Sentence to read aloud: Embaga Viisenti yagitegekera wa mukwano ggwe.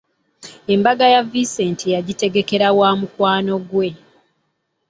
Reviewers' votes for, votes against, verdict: 0, 2, rejected